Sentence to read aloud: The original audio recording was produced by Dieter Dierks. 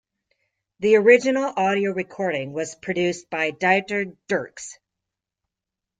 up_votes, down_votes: 2, 0